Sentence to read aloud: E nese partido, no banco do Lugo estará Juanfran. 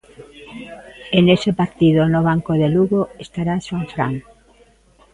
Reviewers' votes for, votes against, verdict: 0, 2, rejected